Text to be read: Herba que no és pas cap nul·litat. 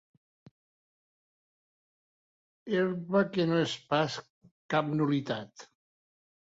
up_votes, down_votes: 1, 2